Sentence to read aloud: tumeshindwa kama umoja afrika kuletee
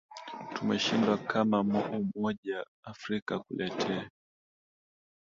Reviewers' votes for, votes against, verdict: 1, 2, rejected